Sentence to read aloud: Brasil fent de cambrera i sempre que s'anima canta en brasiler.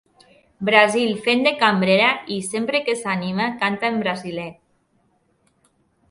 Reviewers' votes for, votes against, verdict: 2, 0, accepted